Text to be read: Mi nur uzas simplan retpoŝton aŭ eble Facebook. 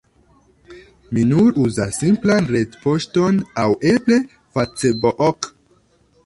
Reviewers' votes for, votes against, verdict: 1, 2, rejected